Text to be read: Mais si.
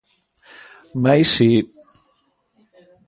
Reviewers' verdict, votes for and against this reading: accepted, 2, 0